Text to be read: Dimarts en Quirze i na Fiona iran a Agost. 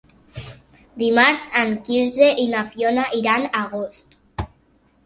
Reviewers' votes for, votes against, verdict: 1, 2, rejected